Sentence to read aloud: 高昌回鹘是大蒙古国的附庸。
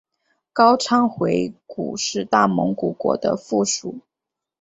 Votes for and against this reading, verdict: 4, 0, accepted